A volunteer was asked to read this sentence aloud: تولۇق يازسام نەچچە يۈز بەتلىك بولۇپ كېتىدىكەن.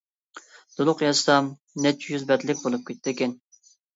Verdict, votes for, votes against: accepted, 2, 1